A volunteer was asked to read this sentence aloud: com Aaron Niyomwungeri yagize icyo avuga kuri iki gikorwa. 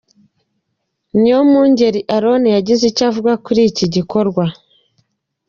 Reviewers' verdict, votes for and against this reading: rejected, 1, 2